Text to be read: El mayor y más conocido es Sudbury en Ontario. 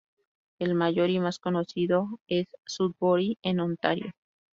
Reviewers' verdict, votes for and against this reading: accepted, 2, 0